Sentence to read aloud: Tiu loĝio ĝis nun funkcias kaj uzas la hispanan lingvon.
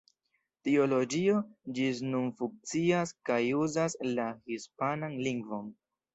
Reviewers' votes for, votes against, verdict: 2, 1, accepted